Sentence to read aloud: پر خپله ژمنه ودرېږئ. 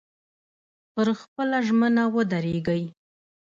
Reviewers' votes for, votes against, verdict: 1, 2, rejected